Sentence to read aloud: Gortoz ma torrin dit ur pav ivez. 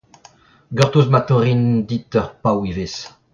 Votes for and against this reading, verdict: 1, 2, rejected